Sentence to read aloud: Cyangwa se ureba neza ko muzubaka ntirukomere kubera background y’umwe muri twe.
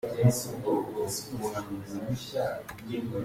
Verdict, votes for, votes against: rejected, 0, 2